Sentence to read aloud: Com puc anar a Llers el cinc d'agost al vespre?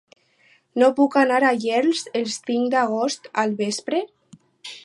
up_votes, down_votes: 0, 4